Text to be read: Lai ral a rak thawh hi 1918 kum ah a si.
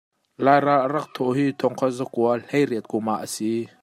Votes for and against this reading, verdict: 0, 2, rejected